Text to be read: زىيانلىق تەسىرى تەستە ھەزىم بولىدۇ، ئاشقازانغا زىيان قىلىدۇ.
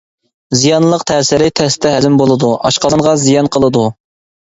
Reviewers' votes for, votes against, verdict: 2, 0, accepted